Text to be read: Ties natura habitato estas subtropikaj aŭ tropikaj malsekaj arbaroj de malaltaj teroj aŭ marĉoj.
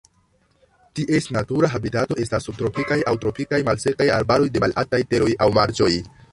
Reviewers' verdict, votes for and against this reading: rejected, 0, 2